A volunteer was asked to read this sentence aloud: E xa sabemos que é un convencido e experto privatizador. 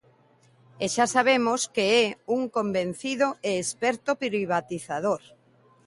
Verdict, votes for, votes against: rejected, 1, 2